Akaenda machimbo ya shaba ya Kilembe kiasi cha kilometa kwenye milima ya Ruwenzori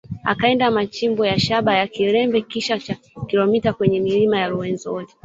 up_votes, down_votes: 0, 2